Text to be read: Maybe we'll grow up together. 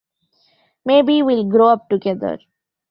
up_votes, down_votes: 2, 1